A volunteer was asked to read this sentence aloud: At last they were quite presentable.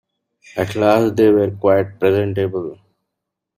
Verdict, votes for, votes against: accepted, 2, 1